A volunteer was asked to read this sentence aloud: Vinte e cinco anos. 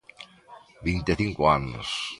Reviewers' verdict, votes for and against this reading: accepted, 2, 0